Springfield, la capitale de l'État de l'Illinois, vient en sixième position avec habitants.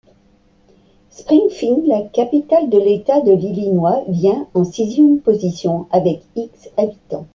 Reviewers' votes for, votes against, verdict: 1, 2, rejected